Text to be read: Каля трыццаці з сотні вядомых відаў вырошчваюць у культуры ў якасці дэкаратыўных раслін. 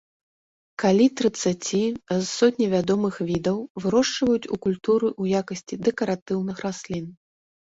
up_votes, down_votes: 0, 2